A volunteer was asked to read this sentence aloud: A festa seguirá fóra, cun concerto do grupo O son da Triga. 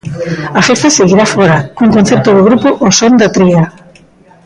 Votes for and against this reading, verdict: 1, 2, rejected